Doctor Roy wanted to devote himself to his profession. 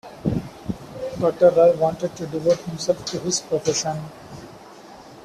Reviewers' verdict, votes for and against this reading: accepted, 2, 0